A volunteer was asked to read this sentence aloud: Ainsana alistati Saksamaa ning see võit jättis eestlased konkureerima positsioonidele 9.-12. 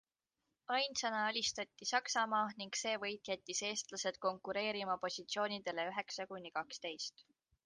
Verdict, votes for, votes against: rejected, 0, 2